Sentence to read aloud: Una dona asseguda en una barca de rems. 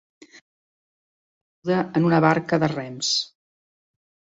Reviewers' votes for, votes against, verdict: 0, 2, rejected